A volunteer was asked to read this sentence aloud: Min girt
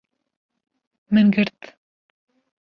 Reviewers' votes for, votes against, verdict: 2, 0, accepted